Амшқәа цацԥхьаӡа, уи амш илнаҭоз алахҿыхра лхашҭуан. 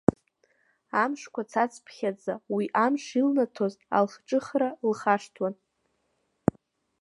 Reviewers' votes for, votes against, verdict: 1, 2, rejected